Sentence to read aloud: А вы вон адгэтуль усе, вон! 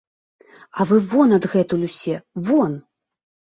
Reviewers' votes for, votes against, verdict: 2, 0, accepted